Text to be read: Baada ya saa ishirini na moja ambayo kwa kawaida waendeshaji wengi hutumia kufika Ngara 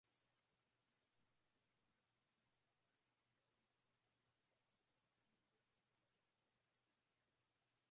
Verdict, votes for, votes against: rejected, 0, 5